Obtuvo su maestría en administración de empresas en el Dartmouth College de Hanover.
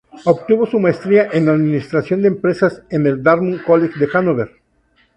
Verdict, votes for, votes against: rejected, 0, 2